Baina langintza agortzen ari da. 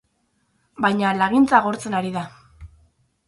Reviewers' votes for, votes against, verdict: 4, 6, rejected